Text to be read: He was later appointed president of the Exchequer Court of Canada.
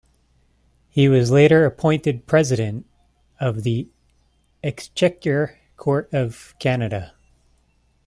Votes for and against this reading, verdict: 2, 0, accepted